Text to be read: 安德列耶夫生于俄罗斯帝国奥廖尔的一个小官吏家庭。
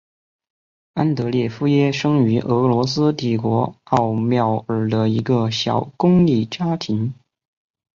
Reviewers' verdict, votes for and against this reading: rejected, 1, 4